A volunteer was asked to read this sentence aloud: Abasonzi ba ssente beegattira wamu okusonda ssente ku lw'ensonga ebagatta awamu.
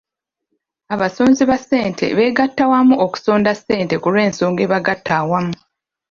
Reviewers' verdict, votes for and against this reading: rejected, 0, 2